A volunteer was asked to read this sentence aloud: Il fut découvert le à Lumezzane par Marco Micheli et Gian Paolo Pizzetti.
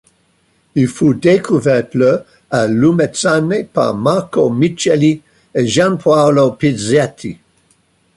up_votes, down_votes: 2, 0